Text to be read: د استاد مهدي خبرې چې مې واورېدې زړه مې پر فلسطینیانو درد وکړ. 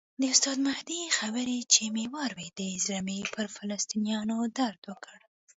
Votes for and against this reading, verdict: 2, 0, accepted